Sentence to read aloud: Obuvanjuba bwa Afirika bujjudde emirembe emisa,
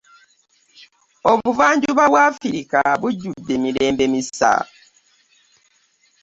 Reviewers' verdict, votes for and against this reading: rejected, 1, 2